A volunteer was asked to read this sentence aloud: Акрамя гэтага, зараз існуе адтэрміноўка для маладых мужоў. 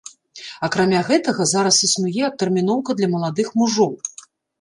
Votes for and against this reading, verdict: 2, 0, accepted